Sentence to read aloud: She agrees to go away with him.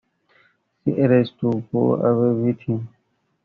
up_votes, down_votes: 0, 2